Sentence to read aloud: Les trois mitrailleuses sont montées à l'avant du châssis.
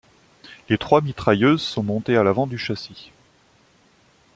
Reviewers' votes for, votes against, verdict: 2, 0, accepted